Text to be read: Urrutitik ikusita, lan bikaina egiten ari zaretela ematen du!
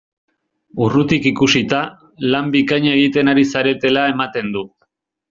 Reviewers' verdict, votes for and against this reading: rejected, 0, 2